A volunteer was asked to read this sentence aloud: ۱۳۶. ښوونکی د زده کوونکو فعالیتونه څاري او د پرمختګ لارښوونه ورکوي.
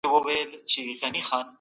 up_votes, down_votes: 0, 2